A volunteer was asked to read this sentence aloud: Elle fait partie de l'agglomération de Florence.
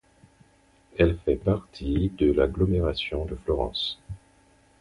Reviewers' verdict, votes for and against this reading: accepted, 4, 2